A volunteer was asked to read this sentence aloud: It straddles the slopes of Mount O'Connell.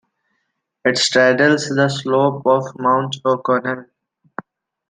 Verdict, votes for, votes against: accepted, 2, 0